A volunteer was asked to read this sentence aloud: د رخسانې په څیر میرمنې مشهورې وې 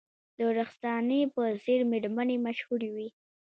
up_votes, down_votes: 2, 1